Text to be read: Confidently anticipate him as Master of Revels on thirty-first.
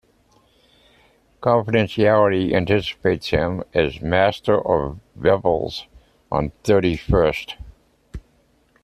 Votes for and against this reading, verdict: 0, 2, rejected